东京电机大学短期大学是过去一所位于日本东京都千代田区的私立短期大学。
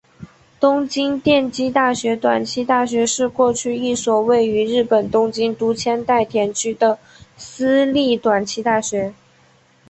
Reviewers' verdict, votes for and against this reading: accepted, 2, 1